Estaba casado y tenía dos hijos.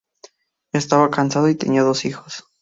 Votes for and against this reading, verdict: 0, 2, rejected